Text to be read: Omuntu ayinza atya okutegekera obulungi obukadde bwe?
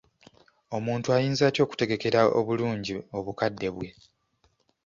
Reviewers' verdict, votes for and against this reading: accepted, 2, 0